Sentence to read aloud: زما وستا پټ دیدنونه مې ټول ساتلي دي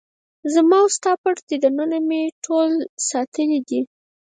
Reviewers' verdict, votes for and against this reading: rejected, 2, 4